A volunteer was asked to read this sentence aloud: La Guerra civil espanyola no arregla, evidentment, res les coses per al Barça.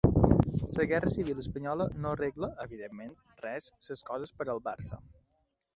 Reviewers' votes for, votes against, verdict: 0, 2, rejected